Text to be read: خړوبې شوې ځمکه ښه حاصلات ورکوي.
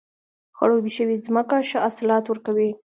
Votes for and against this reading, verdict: 1, 2, rejected